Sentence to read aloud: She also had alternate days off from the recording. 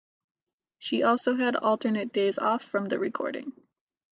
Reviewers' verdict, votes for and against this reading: accepted, 2, 0